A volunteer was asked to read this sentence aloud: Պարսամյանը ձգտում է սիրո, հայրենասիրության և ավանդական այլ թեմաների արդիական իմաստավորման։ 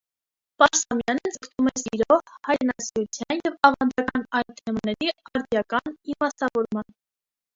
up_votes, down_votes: 1, 2